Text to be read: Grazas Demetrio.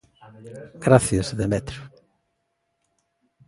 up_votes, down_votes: 1, 3